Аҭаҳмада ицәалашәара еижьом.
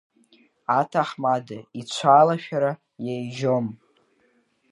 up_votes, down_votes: 1, 2